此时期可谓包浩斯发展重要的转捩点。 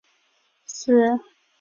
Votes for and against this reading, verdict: 0, 2, rejected